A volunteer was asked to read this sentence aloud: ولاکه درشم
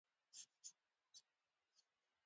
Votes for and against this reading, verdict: 1, 2, rejected